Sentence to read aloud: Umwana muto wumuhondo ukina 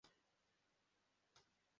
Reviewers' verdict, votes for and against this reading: rejected, 0, 2